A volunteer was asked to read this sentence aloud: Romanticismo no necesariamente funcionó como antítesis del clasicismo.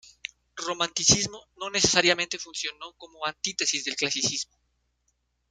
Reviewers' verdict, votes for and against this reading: rejected, 1, 2